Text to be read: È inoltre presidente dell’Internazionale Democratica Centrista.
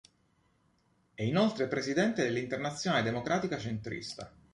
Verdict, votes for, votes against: accepted, 2, 0